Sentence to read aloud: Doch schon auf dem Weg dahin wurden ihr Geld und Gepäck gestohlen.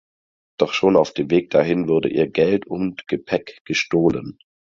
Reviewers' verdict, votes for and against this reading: accepted, 4, 0